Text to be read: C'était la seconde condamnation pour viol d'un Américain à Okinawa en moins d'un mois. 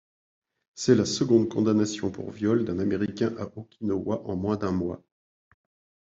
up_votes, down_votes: 0, 2